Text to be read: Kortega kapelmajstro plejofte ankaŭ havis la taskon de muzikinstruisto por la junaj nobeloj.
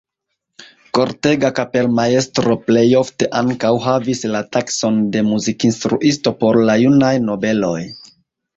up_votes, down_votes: 1, 2